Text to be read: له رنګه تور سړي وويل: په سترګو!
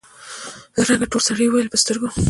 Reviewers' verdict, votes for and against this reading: accepted, 2, 0